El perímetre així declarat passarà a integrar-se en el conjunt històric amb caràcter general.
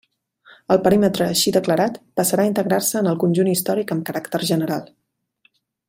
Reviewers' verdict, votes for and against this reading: accepted, 3, 1